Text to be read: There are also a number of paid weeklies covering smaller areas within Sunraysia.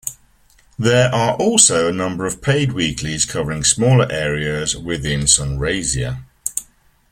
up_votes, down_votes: 3, 0